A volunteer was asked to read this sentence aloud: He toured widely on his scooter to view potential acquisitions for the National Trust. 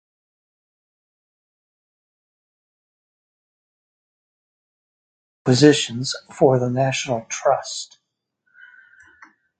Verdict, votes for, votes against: rejected, 0, 4